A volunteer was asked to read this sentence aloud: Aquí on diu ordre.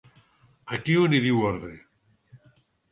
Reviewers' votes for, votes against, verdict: 2, 4, rejected